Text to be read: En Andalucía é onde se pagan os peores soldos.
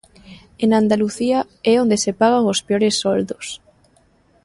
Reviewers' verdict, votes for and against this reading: accepted, 2, 0